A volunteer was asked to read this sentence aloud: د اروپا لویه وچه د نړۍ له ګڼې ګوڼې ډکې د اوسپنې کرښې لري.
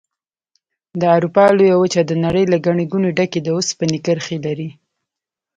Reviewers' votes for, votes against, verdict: 2, 0, accepted